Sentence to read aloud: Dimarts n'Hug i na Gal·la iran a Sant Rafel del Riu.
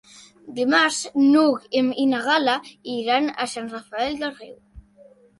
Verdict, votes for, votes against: rejected, 0, 2